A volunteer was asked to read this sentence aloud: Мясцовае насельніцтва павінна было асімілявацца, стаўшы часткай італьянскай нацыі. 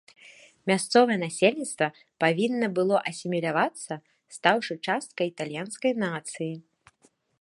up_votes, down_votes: 2, 0